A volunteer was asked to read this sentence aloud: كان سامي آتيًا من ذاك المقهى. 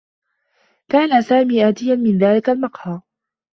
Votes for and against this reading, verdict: 2, 0, accepted